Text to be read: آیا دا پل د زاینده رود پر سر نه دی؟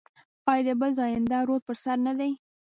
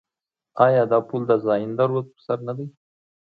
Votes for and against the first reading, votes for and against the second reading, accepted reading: 1, 2, 2, 0, second